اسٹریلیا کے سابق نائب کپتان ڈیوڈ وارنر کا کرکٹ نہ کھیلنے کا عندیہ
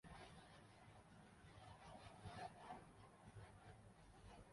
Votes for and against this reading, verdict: 0, 4, rejected